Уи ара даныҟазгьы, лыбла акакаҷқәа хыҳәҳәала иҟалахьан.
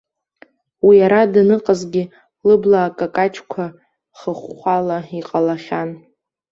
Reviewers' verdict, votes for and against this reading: rejected, 0, 2